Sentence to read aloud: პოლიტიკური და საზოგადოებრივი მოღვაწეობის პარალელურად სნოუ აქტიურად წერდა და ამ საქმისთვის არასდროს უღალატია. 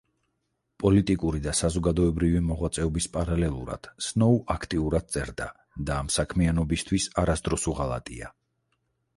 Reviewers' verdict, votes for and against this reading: rejected, 2, 4